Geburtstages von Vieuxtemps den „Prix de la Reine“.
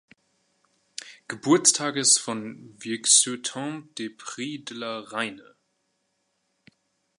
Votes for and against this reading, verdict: 0, 2, rejected